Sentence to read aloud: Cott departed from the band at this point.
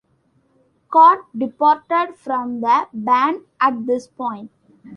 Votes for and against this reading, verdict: 2, 0, accepted